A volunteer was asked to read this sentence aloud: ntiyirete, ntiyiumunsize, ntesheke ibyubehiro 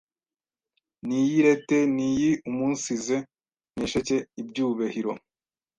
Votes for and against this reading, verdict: 1, 2, rejected